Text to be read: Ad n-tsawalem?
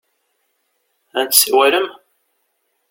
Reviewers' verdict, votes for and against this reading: rejected, 1, 2